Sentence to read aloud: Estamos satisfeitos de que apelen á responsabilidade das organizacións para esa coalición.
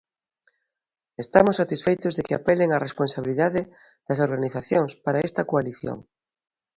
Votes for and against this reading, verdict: 0, 2, rejected